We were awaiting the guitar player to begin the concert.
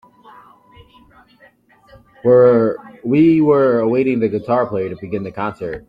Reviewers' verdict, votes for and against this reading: rejected, 0, 2